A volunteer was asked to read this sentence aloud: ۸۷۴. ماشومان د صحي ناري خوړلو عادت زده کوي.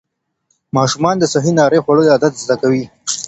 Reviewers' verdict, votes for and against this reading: rejected, 0, 2